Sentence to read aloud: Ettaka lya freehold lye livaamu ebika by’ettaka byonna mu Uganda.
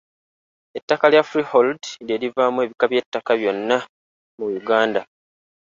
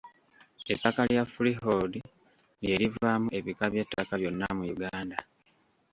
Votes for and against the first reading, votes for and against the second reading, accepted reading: 3, 0, 1, 2, first